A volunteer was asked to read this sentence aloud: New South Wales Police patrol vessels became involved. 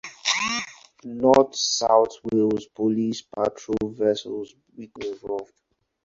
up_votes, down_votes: 0, 4